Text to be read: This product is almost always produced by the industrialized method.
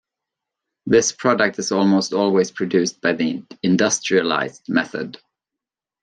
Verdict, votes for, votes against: accepted, 2, 0